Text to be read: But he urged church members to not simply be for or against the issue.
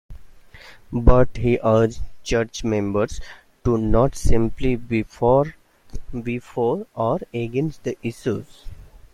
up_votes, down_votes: 0, 2